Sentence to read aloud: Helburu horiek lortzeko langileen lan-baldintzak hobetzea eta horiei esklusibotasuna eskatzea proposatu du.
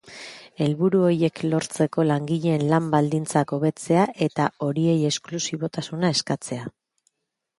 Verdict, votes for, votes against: rejected, 1, 2